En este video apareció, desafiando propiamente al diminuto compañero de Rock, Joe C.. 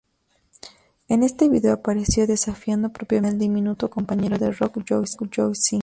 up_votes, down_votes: 0, 2